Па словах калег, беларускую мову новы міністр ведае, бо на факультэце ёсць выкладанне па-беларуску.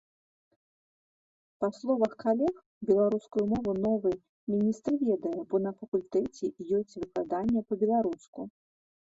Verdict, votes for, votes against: rejected, 1, 2